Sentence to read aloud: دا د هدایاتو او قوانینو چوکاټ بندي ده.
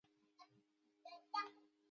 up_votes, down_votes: 1, 2